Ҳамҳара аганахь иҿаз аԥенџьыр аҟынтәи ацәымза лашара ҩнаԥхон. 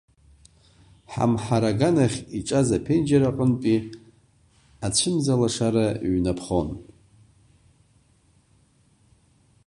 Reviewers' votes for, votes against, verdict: 2, 0, accepted